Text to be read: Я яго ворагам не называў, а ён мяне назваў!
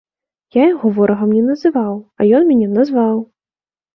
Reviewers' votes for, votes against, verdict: 3, 0, accepted